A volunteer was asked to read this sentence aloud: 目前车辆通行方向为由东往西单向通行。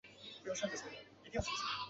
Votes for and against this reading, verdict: 0, 2, rejected